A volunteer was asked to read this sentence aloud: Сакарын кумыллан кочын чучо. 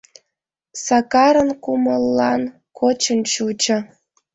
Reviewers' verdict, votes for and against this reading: accepted, 2, 0